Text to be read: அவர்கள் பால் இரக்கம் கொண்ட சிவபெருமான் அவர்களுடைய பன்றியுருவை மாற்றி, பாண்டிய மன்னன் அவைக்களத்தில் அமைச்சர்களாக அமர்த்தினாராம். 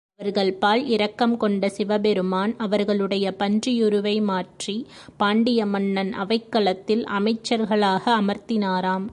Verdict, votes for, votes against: accepted, 3, 0